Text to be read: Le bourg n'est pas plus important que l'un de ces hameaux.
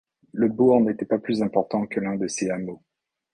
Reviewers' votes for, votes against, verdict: 1, 2, rejected